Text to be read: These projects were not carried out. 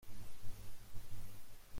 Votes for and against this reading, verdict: 0, 2, rejected